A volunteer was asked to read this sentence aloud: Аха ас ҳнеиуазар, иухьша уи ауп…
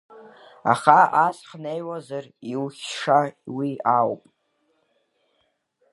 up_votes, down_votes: 2, 1